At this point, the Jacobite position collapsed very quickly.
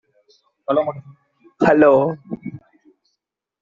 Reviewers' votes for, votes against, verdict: 0, 2, rejected